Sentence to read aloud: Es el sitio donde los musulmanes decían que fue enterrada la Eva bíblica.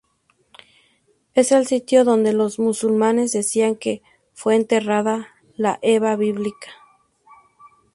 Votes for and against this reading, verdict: 2, 0, accepted